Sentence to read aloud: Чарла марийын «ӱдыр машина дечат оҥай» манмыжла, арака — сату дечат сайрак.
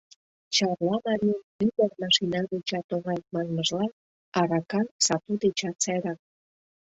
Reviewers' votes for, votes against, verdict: 0, 2, rejected